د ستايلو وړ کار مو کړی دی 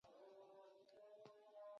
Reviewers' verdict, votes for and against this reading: rejected, 0, 4